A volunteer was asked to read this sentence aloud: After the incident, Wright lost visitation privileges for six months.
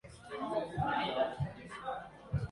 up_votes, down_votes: 0, 2